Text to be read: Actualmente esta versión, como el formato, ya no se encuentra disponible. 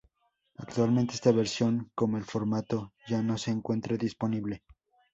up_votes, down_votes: 2, 2